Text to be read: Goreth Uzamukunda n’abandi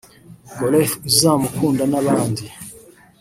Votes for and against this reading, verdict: 0, 3, rejected